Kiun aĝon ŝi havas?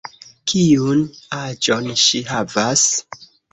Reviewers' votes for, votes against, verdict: 2, 0, accepted